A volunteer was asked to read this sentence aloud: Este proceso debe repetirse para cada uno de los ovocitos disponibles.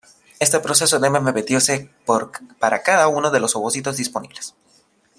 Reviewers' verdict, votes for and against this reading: rejected, 0, 2